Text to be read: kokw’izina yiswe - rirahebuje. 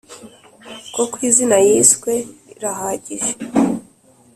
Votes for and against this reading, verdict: 2, 3, rejected